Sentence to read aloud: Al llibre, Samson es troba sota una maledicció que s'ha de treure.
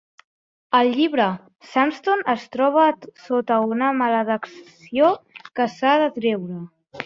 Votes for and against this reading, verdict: 0, 2, rejected